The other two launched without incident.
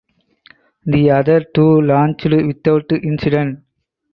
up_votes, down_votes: 0, 4